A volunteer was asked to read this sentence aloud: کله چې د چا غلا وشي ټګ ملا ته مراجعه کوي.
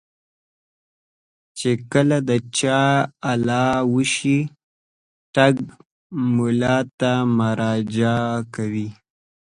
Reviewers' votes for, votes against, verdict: 3, 0, accepted